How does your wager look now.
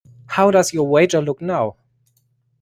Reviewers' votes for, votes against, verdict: 2, 1, accepted